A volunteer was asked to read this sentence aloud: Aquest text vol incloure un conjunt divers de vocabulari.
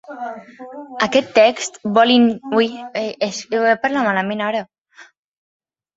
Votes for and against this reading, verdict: 0, 4, rejected